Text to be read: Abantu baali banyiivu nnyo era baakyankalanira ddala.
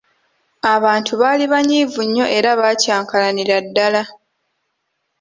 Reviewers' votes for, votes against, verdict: 2, 1, accepted